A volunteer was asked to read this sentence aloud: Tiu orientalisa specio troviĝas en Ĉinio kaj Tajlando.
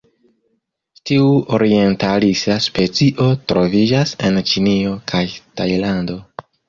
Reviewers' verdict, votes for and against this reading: rejected, 1, 2